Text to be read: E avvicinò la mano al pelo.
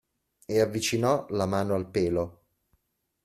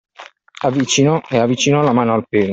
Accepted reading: first